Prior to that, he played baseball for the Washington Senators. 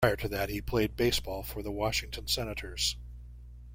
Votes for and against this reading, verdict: 1, 2, rejected